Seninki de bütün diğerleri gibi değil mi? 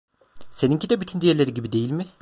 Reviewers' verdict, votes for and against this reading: accepted, 2, 1